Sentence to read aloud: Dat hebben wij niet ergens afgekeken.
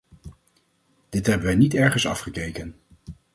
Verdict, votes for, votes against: rejected, 0, 4